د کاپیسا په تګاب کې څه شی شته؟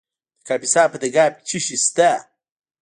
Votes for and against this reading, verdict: 1, 2, rejected